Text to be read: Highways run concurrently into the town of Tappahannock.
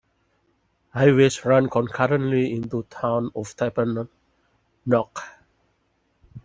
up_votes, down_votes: 2, 1